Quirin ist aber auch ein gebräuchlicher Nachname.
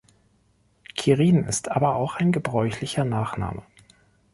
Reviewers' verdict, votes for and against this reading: accepted, 2, 0